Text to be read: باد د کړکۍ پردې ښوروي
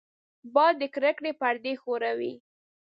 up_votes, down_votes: 0, 2